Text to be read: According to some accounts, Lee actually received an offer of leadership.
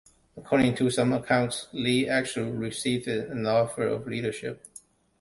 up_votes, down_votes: 0, 2